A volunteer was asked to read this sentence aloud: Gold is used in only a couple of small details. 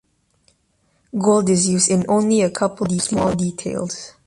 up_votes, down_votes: 1, 2